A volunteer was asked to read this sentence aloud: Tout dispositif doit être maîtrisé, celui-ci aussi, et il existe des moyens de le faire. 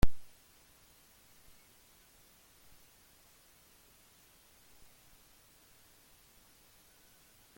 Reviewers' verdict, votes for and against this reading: rejected, 0, 2